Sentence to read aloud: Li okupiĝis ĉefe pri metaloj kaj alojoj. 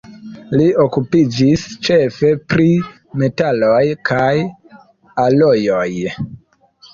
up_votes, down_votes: 1, 2